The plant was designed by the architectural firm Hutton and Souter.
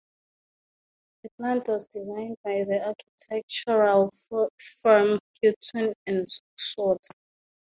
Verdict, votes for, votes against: rejected, 0, 2